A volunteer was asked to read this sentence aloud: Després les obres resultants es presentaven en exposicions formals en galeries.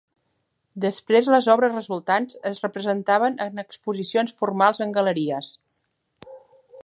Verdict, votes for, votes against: rejected, 1, 2